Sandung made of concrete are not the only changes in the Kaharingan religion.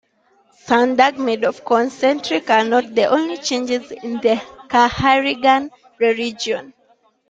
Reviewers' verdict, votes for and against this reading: rejected, 1, 2